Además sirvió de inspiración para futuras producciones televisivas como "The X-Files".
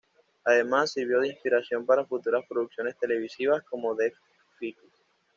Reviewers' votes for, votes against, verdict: 1, 2, rejected